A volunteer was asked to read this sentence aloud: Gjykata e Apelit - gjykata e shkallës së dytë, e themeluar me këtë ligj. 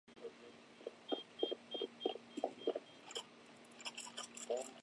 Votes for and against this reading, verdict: 1, 2, rejected